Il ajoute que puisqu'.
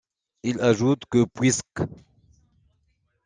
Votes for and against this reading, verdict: 2, 0, accepted